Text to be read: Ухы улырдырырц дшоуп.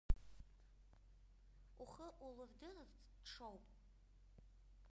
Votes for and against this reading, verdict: 1, 2, rejected